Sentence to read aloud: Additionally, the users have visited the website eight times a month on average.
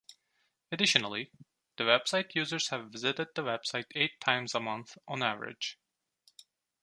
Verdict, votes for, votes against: rejected, 0, 2